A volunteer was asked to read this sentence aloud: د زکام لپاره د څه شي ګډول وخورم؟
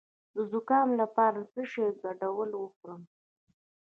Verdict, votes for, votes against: accepted, 2, 1